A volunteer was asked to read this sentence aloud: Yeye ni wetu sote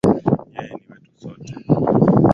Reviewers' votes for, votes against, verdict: 5, 6, rejected